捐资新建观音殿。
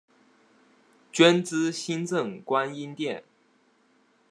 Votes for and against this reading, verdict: 0, 2, rejected